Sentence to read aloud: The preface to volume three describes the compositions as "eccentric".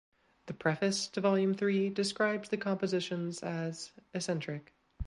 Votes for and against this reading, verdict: 2, 0, accepted